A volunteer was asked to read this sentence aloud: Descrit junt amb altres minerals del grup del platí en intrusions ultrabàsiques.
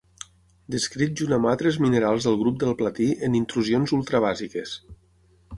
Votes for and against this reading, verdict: 6, 0, accepted